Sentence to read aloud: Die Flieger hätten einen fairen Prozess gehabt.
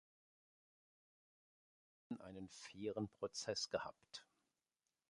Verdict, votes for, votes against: rejected, 0, 2